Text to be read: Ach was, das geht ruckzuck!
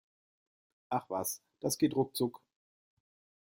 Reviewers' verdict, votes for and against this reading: accepted, 2, 0